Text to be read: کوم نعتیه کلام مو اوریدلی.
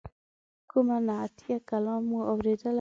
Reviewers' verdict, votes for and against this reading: rejected, 1, 2